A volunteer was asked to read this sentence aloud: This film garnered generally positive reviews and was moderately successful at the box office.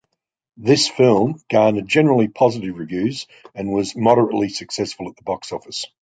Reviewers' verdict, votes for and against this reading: accepted, 2, 0